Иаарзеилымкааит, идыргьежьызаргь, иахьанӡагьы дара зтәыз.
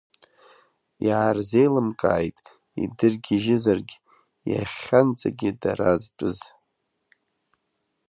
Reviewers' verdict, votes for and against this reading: accepted, 2, 0